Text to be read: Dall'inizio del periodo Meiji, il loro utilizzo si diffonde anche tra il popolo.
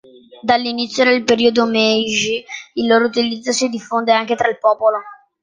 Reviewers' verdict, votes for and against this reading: accepted, 3, 0